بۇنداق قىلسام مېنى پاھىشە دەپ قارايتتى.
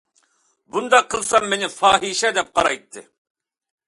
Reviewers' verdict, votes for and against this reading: accepted, 2, 0